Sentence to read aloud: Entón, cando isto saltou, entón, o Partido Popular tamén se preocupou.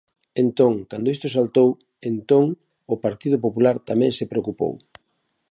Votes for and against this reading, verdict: 2, 0, accepted